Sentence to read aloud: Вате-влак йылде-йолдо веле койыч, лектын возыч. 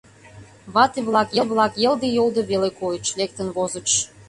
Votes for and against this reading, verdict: 0, 2, rejected